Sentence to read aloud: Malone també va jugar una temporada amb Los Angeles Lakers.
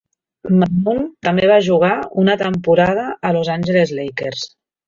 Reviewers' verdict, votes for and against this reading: rejected, 1, 2